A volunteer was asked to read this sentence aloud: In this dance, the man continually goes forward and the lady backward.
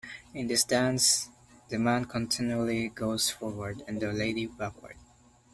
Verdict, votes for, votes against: accepted, 2, 0